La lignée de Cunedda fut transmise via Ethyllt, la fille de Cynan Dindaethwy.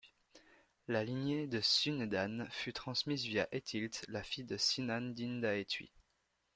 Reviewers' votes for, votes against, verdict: 1, 2, rejected